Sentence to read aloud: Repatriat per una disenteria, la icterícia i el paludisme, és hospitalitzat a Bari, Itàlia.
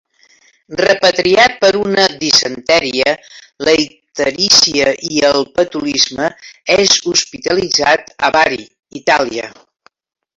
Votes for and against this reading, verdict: 0, 2, rejected